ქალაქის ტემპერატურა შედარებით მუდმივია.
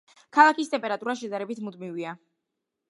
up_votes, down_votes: 2, 0